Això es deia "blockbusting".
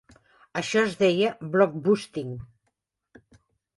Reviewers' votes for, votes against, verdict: 2, 1, accepted